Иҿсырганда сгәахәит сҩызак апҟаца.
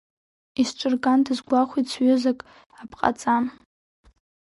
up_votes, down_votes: 2, 3